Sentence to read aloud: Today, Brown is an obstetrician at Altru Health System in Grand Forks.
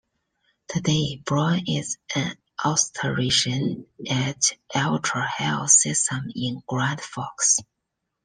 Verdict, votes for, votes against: accepted, 2, 1